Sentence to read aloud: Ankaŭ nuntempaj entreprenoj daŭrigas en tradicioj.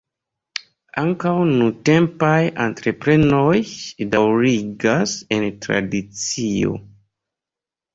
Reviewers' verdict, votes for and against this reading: rejected, 0, 2